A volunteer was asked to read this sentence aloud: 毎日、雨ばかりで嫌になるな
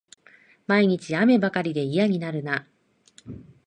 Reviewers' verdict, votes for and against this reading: accepted, 2, 0